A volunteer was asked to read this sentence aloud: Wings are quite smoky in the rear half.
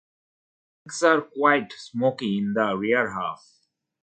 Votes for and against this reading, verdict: 0, 2, rejected